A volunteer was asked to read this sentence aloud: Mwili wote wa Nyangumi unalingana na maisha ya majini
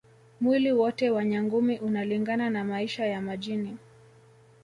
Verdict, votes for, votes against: accepted, 3, 1